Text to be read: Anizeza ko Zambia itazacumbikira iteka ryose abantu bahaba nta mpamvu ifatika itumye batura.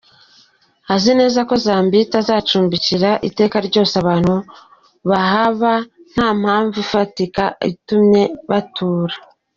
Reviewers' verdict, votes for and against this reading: rejected, 0, 2